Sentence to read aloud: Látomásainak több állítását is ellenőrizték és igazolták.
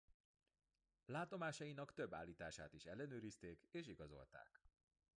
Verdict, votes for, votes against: accepted, 2, 0